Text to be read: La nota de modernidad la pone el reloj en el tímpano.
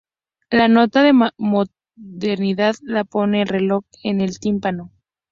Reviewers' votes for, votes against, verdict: 0, 2, rejected